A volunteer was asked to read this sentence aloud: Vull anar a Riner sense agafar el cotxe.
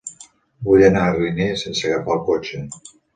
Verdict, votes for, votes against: accepted, 3, 0